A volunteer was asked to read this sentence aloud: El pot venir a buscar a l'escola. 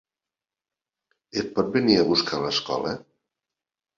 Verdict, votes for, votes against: rejected, 1, 2